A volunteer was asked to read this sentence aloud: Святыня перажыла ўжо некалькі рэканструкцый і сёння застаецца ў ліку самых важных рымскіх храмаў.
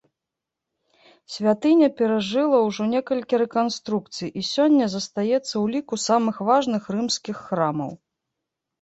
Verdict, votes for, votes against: accepted, 2, 1